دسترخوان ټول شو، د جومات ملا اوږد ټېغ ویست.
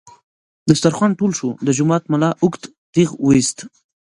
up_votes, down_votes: 1, 2